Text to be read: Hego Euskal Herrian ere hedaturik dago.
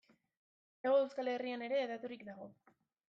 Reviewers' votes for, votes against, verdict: 0, 2, rejected